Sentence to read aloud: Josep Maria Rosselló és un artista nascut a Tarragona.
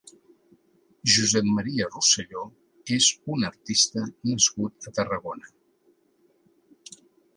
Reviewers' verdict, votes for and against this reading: accepted, 2, 0